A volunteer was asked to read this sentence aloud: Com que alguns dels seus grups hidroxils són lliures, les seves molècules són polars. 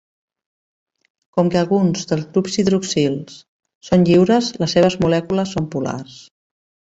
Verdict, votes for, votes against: rejected, 1, 2